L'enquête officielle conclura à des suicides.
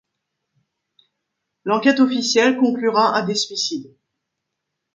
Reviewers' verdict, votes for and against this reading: accepted, 2, 0